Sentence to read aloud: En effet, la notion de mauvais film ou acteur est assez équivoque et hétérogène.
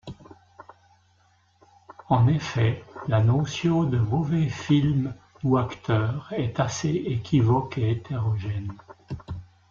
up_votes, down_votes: 0, 2